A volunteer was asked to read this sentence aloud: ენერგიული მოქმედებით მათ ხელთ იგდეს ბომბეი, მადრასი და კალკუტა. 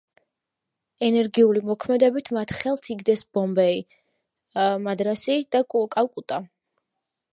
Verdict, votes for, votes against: rejected, 1, 2